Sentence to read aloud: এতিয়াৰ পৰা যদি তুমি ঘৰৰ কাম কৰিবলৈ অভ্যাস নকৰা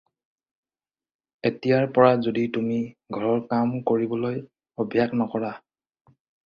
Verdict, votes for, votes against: accepted, 4, 0